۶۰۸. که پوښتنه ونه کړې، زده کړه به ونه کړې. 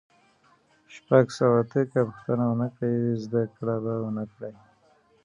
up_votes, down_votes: 0, 2